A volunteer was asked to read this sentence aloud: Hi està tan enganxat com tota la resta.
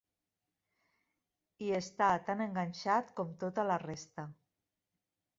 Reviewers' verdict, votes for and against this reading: accepted, 2, 0